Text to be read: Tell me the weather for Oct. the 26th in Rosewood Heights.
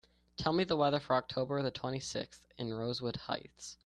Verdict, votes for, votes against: rejected, 0, 2